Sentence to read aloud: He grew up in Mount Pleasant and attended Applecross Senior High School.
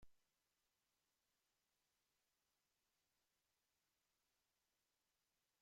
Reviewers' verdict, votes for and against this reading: rejected, 0, 2